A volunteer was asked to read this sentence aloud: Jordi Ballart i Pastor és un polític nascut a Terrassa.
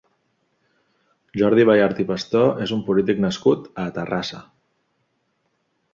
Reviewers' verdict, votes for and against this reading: accepted, 2, 0